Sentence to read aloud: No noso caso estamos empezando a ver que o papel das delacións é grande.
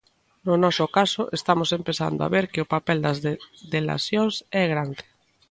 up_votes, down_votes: 1, 2